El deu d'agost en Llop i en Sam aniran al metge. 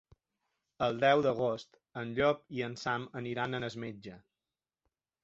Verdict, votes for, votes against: rejected, 0, 3